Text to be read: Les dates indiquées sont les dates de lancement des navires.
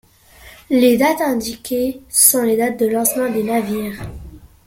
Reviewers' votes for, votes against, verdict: 1, 2, rejected